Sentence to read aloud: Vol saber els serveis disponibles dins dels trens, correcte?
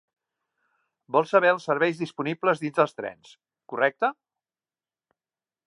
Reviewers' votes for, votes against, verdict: 3, 1, accepted